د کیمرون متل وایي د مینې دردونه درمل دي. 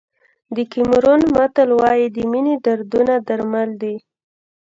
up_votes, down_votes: 0, 2